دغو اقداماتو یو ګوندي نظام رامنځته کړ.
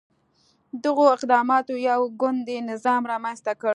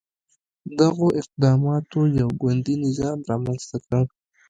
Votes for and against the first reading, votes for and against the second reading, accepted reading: 2, 0, 2, 3, first